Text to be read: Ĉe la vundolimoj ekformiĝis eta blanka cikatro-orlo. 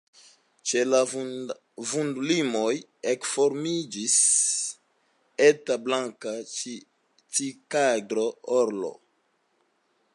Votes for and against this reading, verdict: 1, 2, rejected